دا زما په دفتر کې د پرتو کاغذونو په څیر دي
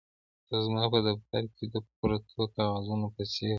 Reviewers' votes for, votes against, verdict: 2, 0, accepted